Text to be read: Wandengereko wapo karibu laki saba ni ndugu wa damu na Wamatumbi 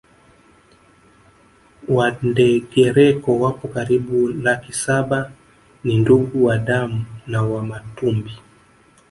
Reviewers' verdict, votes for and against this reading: accepted, 2, 0